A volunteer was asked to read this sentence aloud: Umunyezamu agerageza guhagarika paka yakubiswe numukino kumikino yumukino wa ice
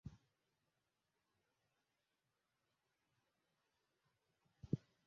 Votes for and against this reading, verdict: 0, 2, rejected